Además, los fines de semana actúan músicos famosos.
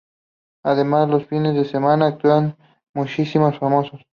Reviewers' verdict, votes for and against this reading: accepted, 2, 0